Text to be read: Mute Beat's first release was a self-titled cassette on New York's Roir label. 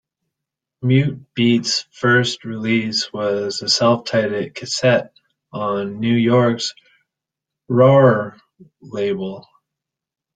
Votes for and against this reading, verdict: 1, 2, rejected